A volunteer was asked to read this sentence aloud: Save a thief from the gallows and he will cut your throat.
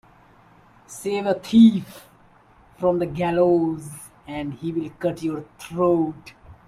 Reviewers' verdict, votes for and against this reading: accepted, 2, 0